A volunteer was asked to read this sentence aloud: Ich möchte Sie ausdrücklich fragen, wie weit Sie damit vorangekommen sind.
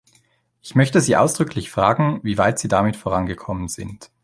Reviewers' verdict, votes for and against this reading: accepted, 2, 0